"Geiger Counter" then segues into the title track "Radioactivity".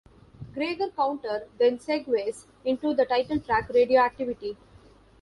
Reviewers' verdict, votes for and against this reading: rejected, 0, 2